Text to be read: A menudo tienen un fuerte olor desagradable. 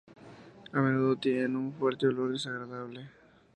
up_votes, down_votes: 2, 0